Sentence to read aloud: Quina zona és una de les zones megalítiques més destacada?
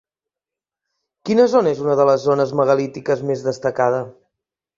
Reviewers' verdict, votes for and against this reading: accepted, 2, 0